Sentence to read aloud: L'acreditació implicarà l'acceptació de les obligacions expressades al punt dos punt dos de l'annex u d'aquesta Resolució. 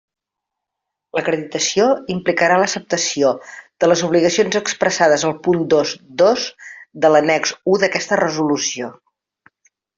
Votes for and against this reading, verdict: 1, 2, rejected